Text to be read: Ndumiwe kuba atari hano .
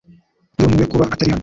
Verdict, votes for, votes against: rejected, 1, 2